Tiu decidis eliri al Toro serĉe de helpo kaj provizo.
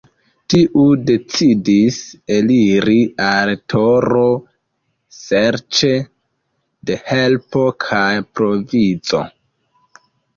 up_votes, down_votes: 2, 0